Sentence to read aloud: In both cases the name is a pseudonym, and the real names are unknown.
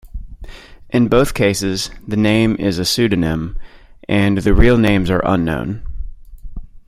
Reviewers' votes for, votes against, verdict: 2, 0, accepted